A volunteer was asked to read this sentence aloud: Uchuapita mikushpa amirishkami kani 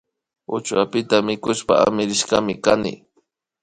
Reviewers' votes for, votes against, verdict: 2, 0, accepted